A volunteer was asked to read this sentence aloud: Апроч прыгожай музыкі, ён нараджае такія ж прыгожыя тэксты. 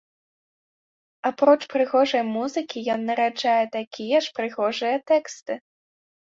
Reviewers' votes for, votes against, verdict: 3, 0, accepted